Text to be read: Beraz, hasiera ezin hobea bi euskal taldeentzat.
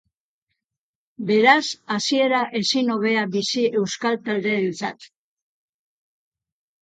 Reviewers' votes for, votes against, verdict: 0, 2, rejected